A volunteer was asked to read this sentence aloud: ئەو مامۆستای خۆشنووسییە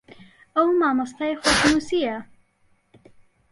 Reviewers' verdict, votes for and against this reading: rejected, 1, 2